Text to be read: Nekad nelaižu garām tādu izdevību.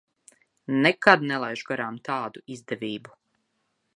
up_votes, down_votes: 3, 0